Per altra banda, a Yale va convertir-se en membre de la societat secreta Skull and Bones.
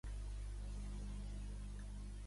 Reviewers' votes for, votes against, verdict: 0, 2, rejected